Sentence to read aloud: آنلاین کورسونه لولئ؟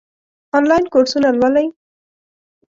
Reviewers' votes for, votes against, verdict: 3, 0, accepted